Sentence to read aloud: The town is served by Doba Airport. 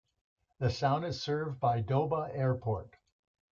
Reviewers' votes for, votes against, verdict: 1, 2, rejected